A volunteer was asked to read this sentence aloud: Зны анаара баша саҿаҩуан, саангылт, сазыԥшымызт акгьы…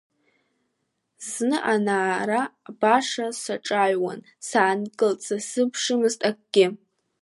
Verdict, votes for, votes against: accepted, 2, 0